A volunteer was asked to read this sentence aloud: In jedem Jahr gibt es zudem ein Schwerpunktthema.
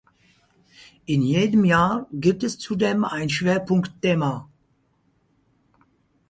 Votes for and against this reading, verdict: 6, 2, accepted